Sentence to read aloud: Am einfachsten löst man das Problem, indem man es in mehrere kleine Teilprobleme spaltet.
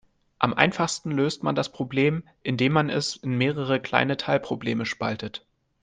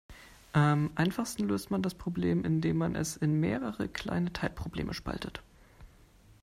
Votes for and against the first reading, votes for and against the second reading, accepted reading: 2, 0, 0, 2, first